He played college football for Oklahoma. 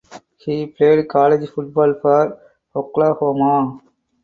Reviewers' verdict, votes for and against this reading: accepted, 4, 0